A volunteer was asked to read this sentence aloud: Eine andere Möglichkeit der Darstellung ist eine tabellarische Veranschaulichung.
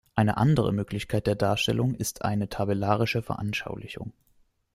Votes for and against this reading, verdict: 2, 0, accepted